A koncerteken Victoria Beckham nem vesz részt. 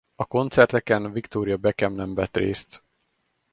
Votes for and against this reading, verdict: 0, 2, rejected